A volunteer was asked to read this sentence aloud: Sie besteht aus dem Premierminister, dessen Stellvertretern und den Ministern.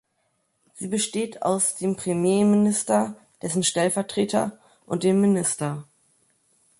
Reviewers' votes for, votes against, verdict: 0, 2, rejected